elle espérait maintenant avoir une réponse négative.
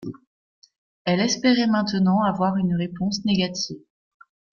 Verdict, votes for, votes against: accepted, 2, 0